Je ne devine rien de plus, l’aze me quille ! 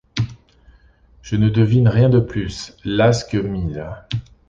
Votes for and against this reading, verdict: 0, 2, rejected